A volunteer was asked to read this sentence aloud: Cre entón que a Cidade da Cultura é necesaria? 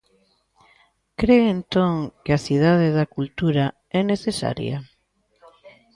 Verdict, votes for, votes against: rejected, 0, 2